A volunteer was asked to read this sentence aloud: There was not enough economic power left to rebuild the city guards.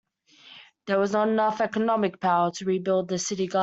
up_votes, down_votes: 1, 2